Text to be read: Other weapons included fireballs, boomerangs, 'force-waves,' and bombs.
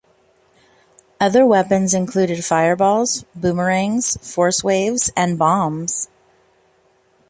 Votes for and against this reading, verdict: 2, 0, accepted